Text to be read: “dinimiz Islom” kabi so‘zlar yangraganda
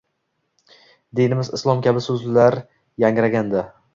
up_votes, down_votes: 1, 2